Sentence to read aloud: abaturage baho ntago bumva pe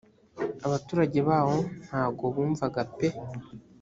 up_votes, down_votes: 1, 2